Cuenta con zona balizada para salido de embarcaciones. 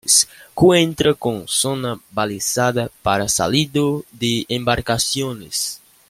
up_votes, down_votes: 1, 2